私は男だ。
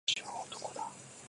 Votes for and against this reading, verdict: 2, 1, accepted